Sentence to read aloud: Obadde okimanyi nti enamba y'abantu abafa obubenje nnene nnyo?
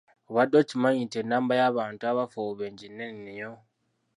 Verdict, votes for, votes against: rejected, 1, 2